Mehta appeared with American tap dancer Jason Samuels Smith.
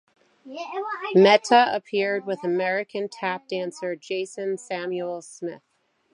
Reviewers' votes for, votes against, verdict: 2, 1, accepted